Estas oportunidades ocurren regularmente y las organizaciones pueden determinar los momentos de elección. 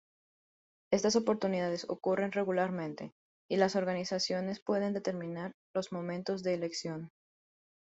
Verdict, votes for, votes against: accepted, 2, 0